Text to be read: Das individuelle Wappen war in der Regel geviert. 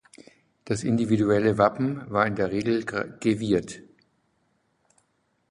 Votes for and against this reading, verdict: 0, 2, rejected